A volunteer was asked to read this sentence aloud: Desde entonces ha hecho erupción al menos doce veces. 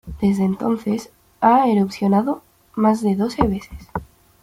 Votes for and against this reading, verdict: 0, 2, rejected